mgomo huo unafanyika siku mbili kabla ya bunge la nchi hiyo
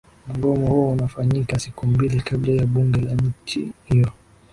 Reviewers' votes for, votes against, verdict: 5, 5, rejected